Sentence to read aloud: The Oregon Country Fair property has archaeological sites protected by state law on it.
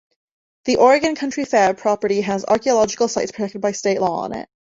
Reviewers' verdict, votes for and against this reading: accepted, 2, 0